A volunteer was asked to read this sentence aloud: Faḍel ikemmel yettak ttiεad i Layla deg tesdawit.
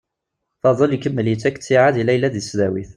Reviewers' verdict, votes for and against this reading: accepted, 2, 0